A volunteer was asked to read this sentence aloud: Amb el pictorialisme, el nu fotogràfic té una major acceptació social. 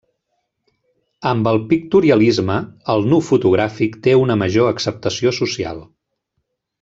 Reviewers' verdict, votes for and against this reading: rejected, 1, 2